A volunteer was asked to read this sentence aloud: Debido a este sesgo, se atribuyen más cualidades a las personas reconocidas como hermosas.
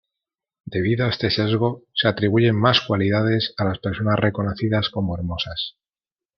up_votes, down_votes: 2, 0